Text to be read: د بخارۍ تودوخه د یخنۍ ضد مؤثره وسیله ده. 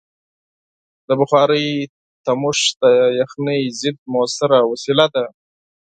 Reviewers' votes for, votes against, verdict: 2, 4, rejected